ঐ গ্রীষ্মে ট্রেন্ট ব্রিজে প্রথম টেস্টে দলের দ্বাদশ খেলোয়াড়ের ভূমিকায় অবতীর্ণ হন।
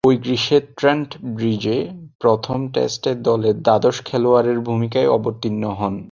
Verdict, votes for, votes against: accepted, 2, 0